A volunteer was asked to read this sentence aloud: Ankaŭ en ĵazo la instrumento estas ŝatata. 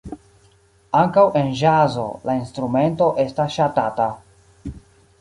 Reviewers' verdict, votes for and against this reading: rejected, 0, 2